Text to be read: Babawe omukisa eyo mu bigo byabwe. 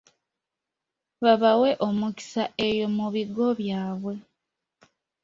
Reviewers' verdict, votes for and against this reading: accepted, 2, 0